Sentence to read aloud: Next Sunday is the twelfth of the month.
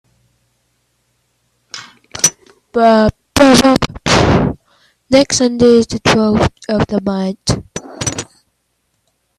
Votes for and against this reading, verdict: 0, 2, rejected